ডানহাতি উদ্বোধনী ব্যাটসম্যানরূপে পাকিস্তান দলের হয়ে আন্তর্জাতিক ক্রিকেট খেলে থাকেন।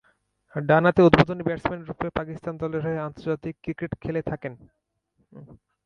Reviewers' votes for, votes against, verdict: 0, 2, rejected